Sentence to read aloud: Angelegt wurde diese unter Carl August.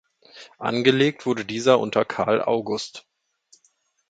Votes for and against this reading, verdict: 1, 2, rejected